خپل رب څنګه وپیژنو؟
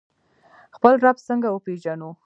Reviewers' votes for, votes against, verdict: 2, 1, accepted